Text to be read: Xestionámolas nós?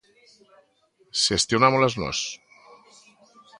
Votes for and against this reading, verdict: 2, 0, accepted